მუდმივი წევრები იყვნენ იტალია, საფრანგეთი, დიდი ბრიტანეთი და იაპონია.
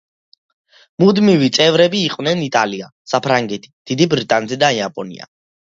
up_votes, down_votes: 2, 0